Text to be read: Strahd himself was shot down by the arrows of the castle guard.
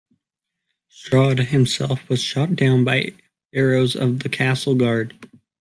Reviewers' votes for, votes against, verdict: 0, 2, rejected